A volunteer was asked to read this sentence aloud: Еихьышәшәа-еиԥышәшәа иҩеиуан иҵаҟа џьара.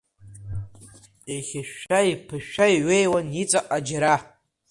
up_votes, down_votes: 2, 1